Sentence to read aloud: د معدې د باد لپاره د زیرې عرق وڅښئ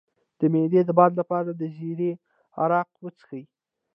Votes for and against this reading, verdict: 0, 2, rejected